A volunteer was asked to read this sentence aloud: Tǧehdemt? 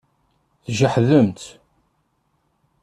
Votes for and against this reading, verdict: 0, 2, rejected